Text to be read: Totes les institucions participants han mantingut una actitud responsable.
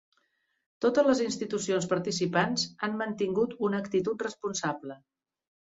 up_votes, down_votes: 3, 0